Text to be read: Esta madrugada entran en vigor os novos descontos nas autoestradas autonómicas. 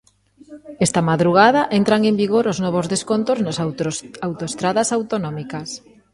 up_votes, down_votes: 0, 2